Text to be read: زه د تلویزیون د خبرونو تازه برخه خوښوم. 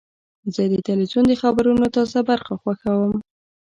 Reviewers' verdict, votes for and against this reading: accepted, 2, 0